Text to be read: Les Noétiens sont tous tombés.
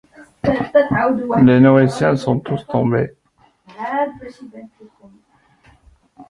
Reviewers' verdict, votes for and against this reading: rejected, 1, 2